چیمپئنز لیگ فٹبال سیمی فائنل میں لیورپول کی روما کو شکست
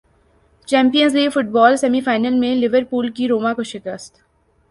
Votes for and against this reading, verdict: 0, 2, rejected